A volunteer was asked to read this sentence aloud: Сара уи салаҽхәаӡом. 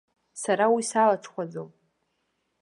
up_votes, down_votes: 2, 1